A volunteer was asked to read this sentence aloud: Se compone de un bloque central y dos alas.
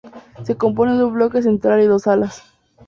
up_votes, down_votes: 2, 0